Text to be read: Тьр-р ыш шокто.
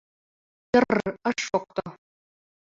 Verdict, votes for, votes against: accepted, 2, 0